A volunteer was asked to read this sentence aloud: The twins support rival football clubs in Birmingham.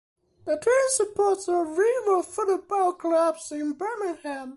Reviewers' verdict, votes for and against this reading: rejected, 0, 2